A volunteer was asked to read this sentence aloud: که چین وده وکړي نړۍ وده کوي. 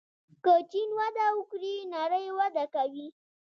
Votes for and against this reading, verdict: 2, 1, accepted